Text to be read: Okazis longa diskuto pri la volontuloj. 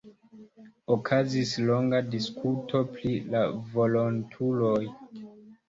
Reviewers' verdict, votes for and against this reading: accepted, 2, 0